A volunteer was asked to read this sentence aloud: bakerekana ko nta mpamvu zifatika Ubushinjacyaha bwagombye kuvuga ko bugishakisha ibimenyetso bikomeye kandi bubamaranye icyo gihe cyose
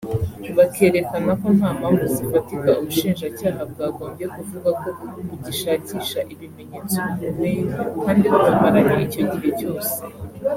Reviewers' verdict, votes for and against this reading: accepted, 2, 0